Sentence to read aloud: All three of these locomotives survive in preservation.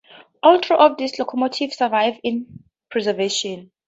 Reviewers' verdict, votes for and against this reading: rejected, 2, 2